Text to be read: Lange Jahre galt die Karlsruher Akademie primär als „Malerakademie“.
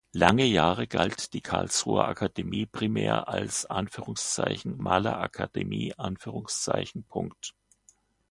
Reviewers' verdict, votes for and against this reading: accepted, 3, 0